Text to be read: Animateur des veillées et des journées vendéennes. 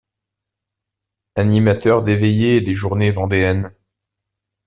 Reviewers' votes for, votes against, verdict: 2, 0, accepted